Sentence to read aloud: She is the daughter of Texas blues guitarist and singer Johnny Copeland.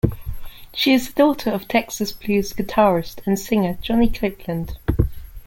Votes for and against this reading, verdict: 0, 2, rejected